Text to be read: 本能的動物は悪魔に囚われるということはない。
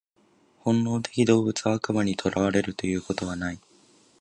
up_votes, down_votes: 2, 0